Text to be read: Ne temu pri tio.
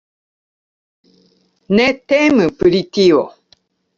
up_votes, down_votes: 2, 0